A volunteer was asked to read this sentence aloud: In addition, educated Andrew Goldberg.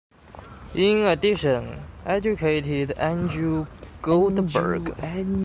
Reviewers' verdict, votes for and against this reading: accepted, 2, 1